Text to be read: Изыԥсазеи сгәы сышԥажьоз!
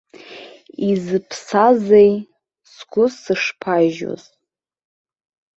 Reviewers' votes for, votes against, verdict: 2, 1, accepted